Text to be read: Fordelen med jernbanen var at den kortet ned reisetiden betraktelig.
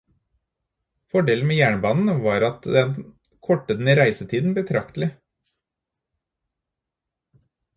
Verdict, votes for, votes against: rejected, 2, 2